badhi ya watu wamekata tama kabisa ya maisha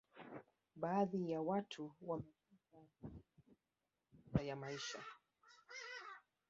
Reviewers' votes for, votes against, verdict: 1, 2, rejected